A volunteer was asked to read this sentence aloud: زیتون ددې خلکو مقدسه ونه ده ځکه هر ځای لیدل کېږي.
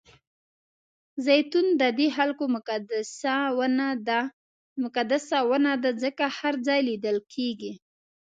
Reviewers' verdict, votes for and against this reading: rejected, 1, 2